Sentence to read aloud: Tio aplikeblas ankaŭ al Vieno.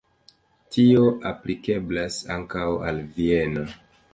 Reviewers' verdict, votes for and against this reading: accepted, 2, 0